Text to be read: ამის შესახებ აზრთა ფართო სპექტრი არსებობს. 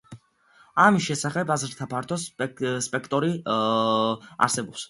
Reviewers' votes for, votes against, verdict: 0, 2, rejected